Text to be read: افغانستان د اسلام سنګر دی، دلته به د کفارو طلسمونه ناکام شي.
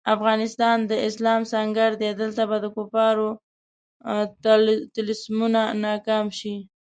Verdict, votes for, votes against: rejected, 1, 2